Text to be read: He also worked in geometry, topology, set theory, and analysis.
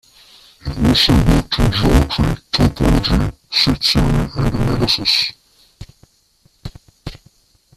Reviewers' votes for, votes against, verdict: 0, 2, rejected